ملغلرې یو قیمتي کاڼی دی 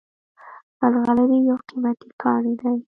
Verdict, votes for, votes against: accepted, 2, 0